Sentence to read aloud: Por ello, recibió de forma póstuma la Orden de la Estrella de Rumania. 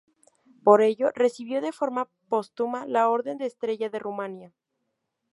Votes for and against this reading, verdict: 0, 2, rejected